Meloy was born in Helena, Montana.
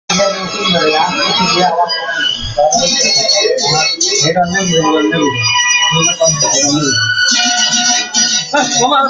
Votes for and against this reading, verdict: 0, 2, rejected